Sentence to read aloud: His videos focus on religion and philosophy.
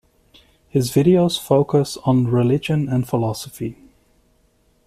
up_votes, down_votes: 2, 0